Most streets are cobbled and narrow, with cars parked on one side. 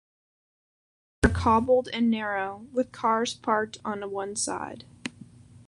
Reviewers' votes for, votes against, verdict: 1, 2, rejected